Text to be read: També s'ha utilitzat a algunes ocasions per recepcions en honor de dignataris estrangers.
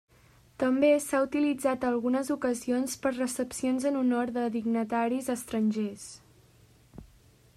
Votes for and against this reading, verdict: 3, 0, accepted